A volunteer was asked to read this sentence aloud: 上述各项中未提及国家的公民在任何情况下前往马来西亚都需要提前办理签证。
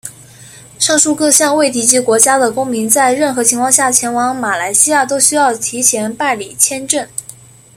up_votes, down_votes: 1, 2